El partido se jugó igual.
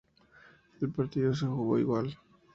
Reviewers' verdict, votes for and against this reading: accepted, 2, 0